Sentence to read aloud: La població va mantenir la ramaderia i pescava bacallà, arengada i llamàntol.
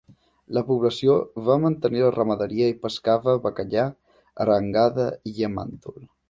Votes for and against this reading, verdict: 3, 1, accepted